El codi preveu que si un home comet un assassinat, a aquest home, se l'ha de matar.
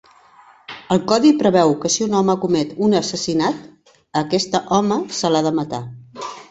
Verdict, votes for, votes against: rejected, 2, 3